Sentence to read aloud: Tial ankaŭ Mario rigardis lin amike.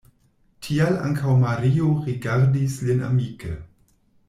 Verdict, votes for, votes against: accepted, 2, 0